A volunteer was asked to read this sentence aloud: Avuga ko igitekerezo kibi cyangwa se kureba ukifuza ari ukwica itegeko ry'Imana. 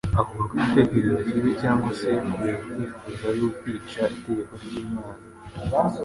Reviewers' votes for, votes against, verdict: 1, 2, rejected